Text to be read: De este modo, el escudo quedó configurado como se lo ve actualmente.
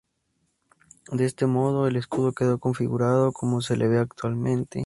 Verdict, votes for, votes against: accepted, 2, 0